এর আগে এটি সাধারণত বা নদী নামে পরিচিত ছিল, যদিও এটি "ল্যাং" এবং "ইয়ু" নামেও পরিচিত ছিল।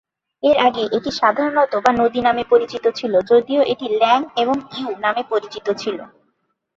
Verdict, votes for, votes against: accepted, 2, 0